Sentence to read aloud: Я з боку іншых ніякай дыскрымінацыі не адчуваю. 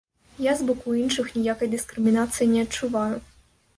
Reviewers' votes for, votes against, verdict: 2, 0, accepted